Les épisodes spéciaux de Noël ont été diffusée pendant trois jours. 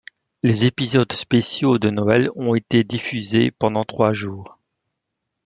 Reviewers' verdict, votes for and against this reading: accepted, 2, 0